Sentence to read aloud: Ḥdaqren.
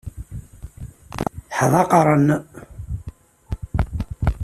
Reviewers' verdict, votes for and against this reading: accepted, 2, 0